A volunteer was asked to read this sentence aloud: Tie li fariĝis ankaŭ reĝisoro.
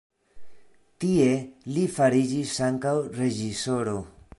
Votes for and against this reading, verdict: 2, 0, accepted